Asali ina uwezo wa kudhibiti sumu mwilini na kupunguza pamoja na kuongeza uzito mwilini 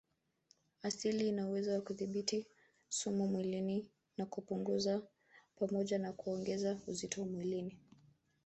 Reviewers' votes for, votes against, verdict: 0, 2, rejected